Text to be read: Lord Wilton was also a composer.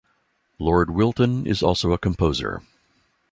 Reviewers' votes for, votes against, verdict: 1, 2, rejected